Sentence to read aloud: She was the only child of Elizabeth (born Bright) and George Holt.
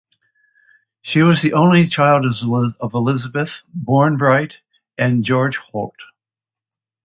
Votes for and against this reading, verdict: 1, 2, rejected